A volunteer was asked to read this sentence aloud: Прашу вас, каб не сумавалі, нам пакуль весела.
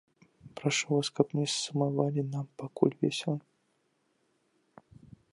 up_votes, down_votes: 2, 1